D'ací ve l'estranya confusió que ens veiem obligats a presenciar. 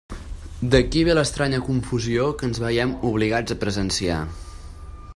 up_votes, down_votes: 1, 3